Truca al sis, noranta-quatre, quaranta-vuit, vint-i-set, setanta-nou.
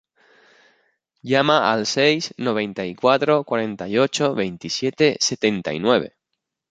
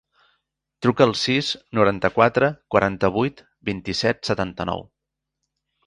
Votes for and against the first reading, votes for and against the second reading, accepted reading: 0, 3, 3, 1, second